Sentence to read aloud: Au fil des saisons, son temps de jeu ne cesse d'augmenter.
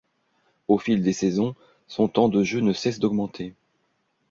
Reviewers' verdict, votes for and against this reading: accepted, 2, 0